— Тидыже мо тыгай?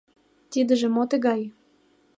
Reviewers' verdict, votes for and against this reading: accepted, 2, 0